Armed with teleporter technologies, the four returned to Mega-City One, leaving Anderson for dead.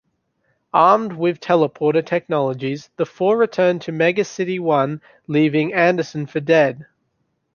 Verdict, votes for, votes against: accepted, 3, 0